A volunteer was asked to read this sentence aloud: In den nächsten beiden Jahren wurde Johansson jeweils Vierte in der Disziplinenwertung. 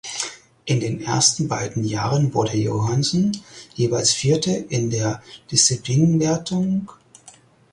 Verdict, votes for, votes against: rejected, 0, 4